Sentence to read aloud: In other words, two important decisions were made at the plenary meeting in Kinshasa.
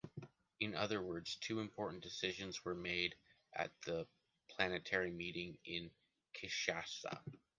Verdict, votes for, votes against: rejected, 0, 2